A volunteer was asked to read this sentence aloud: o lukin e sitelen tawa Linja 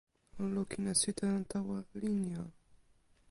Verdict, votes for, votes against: rejected, 1, 2